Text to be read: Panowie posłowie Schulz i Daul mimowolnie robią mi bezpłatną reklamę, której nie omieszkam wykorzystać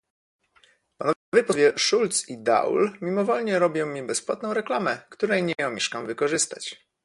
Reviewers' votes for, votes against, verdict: 1, 2, rejected